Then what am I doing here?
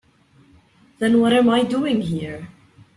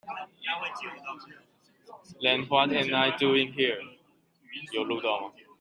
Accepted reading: first